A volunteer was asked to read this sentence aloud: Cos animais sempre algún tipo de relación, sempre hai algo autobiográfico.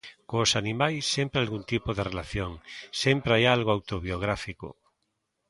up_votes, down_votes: 2, 0